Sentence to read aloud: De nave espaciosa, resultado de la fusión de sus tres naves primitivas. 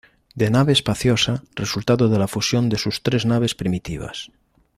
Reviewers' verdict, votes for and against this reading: accepted, 2, 0